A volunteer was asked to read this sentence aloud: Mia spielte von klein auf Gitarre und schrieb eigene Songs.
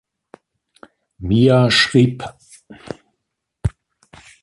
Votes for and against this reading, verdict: 0, 2, rejected